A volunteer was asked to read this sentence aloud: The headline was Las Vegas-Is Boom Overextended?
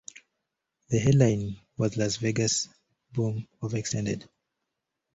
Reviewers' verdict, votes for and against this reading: rejected, 0, 2